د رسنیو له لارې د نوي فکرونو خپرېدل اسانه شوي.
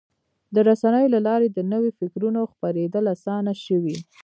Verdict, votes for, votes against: accepted, 2, 1